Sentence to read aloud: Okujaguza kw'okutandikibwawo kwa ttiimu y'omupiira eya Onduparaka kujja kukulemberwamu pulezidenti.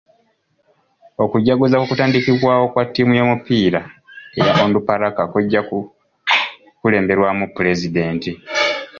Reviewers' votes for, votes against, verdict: 2, 0, accepted